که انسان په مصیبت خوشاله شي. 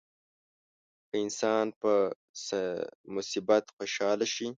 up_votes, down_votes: 2, 3